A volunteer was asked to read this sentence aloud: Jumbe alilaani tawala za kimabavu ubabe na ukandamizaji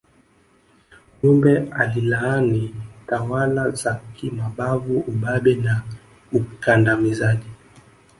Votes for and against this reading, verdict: 2, 1, accepted